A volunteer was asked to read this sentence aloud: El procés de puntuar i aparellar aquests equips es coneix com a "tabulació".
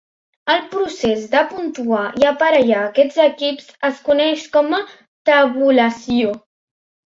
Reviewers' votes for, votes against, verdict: 3, 0, accepted